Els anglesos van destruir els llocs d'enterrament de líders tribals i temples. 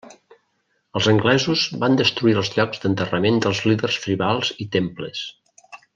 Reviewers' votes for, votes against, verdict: 0, 2, rejected